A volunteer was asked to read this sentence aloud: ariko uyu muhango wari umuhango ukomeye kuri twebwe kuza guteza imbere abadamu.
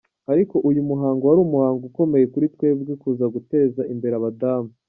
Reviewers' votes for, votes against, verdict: 3, 0, accepted